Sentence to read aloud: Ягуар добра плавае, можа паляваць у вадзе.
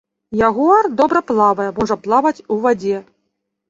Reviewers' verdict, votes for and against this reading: rejected, 1, 2